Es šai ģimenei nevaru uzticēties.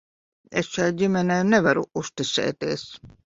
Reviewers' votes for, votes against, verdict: 2, 0, accepted